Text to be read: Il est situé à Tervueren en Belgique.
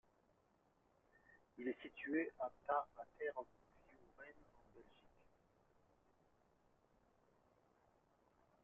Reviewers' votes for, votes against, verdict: 2, 0, accepted